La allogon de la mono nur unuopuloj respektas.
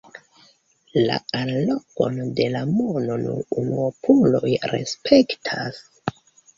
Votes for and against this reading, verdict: 2, 0, accepted